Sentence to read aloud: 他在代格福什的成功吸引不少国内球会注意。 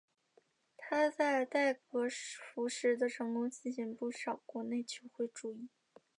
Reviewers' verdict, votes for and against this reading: rejected, 1, 2